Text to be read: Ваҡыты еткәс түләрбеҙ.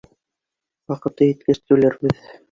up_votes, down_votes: 2, 0